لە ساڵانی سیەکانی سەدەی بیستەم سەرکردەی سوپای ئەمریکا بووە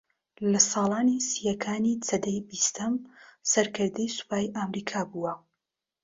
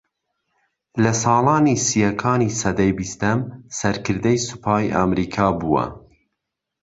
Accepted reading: second